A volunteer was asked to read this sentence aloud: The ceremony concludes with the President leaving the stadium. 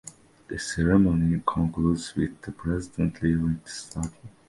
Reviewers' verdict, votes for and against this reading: rejected, 1, 2